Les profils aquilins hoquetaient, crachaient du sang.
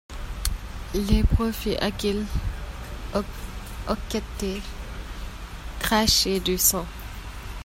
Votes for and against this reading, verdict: 0, 2, rejected